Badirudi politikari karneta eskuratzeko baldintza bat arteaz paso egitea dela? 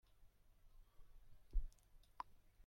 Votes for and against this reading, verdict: 0, 2, rejected